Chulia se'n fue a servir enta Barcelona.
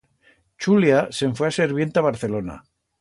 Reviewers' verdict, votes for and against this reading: rejected, 1, 2